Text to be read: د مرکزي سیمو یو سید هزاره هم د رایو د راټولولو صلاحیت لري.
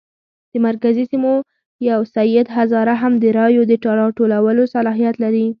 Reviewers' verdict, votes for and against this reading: accepted, 2, 0